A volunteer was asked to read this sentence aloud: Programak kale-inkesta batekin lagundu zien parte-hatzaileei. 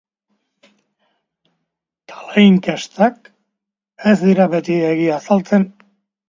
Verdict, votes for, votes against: rejected, 0, 2